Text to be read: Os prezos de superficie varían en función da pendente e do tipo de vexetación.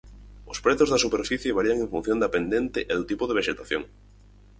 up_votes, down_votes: 0, 4